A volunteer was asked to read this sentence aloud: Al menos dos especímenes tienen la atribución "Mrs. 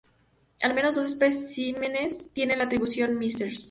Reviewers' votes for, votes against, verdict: 0, 2, rejected